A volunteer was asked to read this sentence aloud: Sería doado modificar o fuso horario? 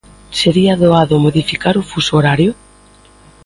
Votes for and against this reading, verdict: 2, 0, accepted